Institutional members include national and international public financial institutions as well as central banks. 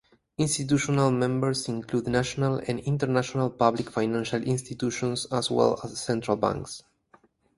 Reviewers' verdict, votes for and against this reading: accepted, 4, 0